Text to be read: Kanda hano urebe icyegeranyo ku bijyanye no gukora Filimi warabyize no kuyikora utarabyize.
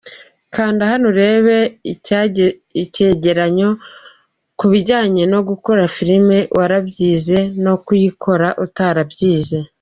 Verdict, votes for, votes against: rejected, 0, 2